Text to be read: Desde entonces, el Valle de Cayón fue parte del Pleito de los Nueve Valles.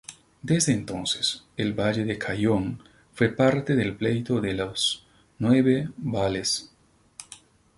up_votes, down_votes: 0, 4